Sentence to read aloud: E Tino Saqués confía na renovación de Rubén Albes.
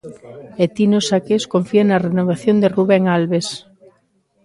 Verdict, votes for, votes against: accepted, 2, 0